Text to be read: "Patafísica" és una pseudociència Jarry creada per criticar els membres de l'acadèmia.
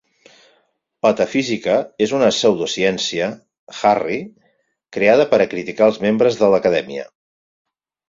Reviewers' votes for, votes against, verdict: 0, 4, rejected